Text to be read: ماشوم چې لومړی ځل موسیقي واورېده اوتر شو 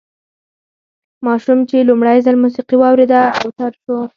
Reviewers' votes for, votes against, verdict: 4, 0, accepted